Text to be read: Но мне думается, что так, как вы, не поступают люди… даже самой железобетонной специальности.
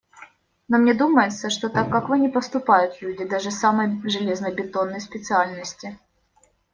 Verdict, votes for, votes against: rejected, 0, 2